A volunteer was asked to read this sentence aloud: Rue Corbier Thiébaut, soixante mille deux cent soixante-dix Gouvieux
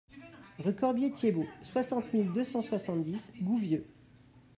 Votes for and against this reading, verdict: 1, 2, rejected